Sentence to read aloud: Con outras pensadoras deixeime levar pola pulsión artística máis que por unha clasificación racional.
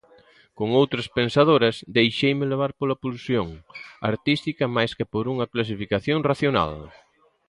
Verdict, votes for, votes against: accepted, 2, 0